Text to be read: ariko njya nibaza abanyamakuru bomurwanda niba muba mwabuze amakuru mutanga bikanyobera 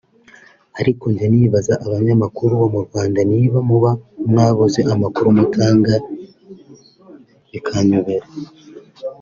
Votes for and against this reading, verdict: 2, 0, accepted